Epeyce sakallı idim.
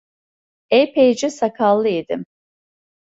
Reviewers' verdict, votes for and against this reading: accepted, 2, 0